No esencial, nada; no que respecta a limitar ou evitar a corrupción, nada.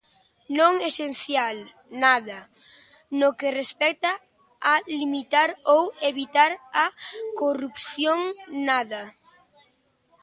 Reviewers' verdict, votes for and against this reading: rejected, 0, 2